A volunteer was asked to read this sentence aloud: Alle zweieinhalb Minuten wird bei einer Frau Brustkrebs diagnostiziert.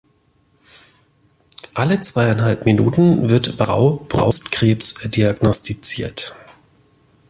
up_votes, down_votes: 0, 2